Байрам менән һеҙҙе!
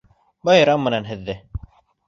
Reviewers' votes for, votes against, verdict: 2, 0, accepted